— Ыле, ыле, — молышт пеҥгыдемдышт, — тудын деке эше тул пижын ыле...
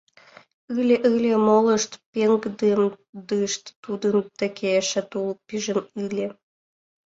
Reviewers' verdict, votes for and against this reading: accepted, 3, 2